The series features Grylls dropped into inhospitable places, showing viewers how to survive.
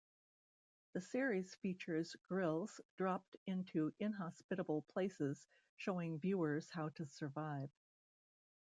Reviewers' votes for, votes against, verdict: 2, 1, accepted